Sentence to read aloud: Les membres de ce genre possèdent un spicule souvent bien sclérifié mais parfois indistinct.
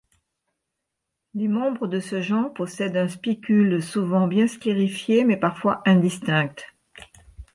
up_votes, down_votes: 1, 2